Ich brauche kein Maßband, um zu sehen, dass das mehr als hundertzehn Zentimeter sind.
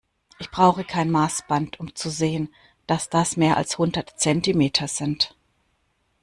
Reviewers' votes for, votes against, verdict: 1, 2, rejected